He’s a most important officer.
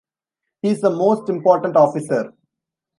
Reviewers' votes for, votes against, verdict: 2, 0, accepted